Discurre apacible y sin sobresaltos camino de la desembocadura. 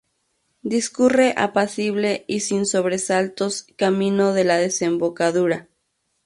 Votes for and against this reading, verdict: 2, 2, rejected